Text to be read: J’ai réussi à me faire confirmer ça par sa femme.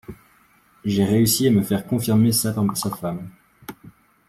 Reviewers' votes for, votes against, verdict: 1, 2, rejected